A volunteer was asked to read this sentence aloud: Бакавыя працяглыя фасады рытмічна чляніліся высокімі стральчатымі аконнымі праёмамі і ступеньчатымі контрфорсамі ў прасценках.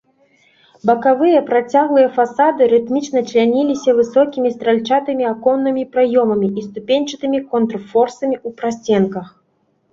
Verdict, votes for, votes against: accepted, 4, 0